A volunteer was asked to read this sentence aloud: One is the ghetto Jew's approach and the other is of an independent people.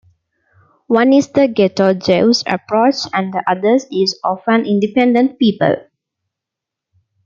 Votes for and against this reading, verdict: 2, 1, accepted